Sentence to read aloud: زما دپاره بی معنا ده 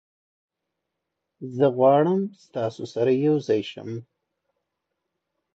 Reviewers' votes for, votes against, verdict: 1, 2, rejected